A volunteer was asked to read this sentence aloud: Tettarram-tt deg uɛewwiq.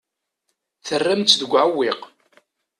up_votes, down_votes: 0, 2